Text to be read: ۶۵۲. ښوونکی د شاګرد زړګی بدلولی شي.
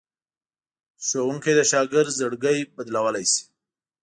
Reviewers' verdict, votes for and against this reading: rejected, 0, 2